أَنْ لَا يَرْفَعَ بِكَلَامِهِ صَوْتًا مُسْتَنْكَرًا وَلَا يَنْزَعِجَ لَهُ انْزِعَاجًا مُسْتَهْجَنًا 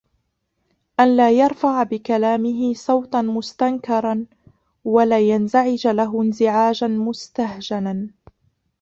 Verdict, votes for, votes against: accepted, 2, 1